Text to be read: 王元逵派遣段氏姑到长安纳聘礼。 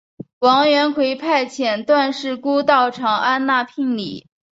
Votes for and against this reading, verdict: 4, 0, accepted